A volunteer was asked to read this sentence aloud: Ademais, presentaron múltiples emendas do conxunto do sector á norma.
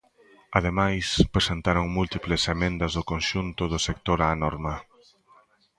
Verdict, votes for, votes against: accepted, 2, 0